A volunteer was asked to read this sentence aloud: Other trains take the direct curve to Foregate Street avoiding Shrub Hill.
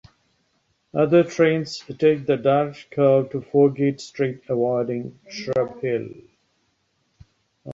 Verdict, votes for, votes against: accepted, 2, 1